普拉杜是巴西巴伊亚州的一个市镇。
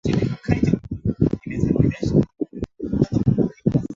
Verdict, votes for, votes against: rejected, 0, 3